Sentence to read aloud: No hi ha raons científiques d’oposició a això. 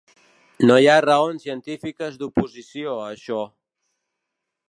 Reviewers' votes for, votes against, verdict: 1, 2, rejected